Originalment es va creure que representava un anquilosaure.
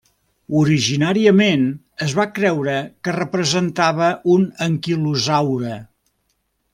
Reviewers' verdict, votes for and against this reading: rejected, 1, 2